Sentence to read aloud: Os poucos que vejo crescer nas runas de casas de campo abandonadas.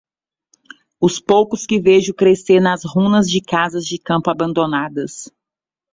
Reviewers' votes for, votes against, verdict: 2, 0, accepted